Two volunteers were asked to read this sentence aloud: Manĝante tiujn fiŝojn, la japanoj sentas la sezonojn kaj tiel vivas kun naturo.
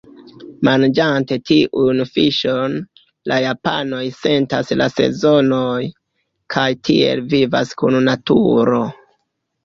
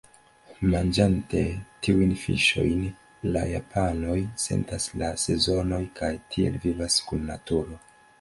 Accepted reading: second